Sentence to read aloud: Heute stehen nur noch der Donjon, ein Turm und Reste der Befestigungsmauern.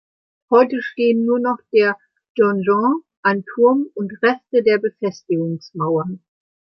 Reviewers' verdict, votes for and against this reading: accepted, 2, 0